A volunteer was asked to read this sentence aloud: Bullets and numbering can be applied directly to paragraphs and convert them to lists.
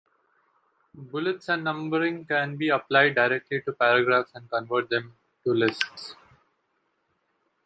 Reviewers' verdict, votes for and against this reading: accepted, 2, 0